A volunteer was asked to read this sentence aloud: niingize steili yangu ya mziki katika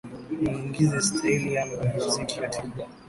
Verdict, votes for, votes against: rejected, 0, 2